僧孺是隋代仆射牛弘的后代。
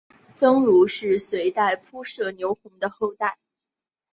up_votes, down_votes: 0, 2